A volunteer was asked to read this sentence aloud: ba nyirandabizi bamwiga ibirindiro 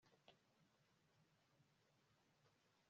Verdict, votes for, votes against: rejected, 0, 2